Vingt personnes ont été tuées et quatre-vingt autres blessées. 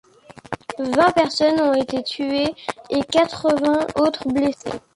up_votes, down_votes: 2, 0